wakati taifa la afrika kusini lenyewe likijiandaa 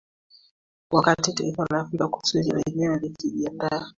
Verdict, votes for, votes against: rejected, 1, 2